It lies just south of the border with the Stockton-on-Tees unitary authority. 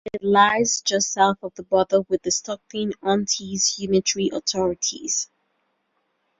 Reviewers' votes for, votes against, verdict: 1, 2, rejected